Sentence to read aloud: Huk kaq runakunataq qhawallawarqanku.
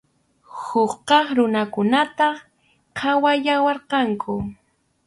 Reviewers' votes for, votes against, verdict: 4, 0, accepted